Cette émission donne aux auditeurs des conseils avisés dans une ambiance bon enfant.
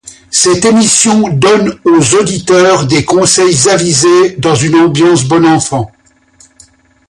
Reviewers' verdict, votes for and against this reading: accepted, 2, 0